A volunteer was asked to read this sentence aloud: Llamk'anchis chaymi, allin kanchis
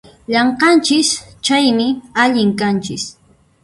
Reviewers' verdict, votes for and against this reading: rejected, 0, 2